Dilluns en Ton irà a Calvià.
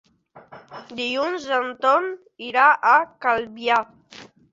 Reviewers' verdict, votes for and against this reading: accepted, 4, 0